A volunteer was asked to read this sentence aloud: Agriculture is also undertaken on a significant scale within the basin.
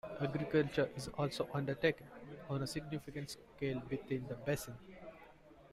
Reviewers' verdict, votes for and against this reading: accepted, 2, 1